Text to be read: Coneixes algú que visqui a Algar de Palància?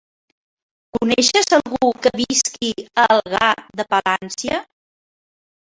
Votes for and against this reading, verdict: 2, 1, accepted